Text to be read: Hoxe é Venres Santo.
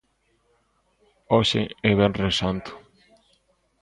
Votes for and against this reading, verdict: 2, 0, accepted